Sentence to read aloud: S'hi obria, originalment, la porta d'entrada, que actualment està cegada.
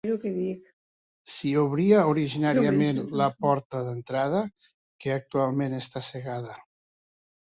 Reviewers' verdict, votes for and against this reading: rejected, 1, 2